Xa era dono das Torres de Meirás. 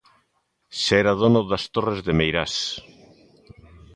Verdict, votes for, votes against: accepted, 4, 0